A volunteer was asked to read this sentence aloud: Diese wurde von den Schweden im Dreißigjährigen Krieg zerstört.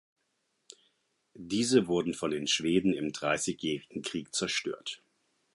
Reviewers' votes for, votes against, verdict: 2, 4, rejected